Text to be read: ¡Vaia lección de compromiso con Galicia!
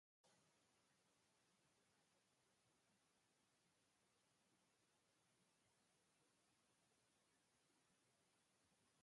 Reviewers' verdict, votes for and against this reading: rejected, 0, 2